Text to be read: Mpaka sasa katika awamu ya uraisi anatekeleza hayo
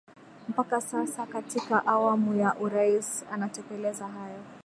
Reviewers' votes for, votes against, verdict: 2, 3, rejected